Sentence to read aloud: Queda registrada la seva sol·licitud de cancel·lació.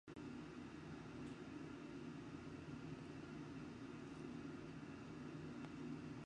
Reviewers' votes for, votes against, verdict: 0, 2, rejected